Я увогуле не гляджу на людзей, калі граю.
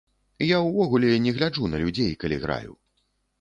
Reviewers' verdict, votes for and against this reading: accepted, 2, 0